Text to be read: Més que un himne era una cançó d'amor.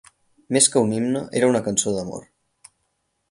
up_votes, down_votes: 6, 0